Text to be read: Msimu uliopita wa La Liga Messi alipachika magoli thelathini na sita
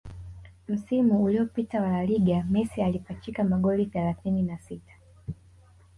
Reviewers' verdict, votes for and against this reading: accepted, 3, 0